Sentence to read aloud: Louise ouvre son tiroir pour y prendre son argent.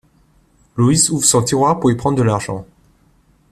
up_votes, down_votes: 0, 2